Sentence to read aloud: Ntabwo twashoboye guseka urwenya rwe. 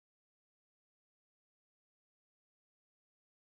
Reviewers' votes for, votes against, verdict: 0, 2, rejected